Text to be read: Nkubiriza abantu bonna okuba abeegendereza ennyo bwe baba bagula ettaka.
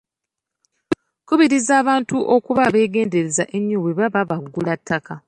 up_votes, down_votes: 0, 2